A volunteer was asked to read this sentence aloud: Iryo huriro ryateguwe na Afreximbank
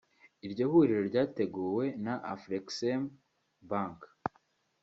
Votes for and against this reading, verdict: 2, 0, accepted